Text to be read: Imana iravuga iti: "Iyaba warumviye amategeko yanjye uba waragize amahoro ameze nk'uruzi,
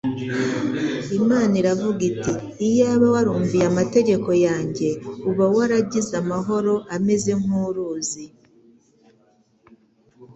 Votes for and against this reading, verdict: 2, 0, accepted